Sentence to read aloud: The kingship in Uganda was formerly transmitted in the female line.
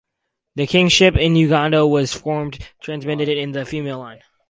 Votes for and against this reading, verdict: 2, 2, rejected